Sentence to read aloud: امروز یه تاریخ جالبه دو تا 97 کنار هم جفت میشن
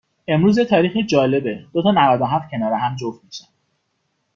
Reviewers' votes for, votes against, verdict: 0, 2, rejected